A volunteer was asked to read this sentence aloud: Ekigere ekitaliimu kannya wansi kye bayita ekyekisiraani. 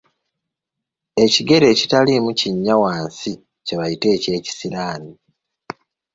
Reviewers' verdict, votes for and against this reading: rejected, 0, 2